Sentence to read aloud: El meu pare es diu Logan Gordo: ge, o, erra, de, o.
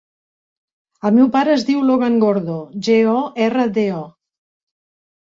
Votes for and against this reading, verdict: 2, 0, accepted